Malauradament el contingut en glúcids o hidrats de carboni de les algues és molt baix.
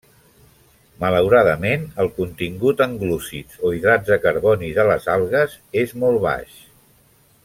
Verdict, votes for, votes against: accepted, 2, 1